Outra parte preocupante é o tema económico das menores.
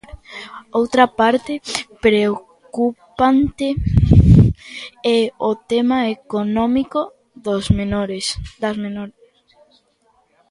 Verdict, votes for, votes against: rejected, 0, 2